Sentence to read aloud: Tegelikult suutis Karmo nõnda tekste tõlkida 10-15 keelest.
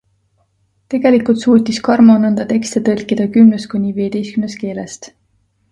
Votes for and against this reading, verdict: 0, 2, rejected